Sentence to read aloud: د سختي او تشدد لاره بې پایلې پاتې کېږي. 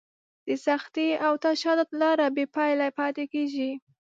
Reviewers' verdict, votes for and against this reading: accepted, 2, 0